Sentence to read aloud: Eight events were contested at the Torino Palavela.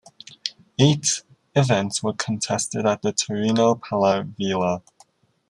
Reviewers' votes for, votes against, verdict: 2, 0, accepted